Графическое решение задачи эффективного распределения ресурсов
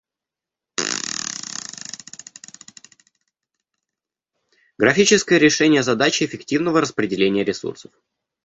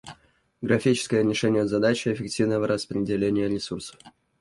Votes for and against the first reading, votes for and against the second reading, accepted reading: 1, 2, 2, 1, second